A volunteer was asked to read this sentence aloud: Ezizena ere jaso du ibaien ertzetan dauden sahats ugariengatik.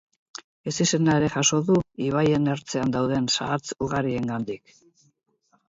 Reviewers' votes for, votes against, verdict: 0, 4, rejected